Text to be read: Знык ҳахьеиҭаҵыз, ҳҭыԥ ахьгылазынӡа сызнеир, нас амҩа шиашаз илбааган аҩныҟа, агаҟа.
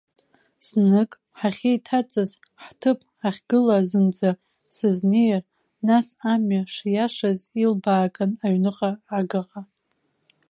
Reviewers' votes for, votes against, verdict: 2, 1, accepted